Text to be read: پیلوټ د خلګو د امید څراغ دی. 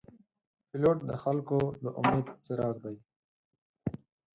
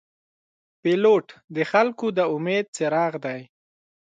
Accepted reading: second